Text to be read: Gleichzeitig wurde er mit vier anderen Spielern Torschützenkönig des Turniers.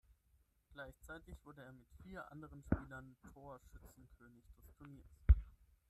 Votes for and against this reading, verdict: 0, 6, rejected